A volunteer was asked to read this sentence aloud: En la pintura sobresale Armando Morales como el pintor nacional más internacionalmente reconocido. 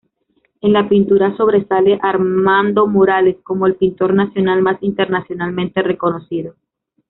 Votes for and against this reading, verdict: 1, 2, rejected